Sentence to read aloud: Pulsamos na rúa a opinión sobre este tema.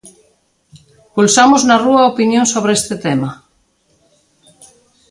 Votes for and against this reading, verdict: 3, 0, accepted